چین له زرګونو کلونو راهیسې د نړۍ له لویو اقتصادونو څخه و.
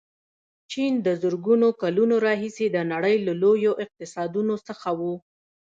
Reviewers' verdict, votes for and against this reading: rejected, 0, 2